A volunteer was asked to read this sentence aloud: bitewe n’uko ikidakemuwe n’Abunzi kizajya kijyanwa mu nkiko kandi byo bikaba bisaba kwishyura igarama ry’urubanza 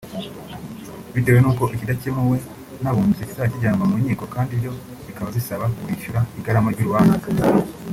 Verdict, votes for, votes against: rejected, 1, 2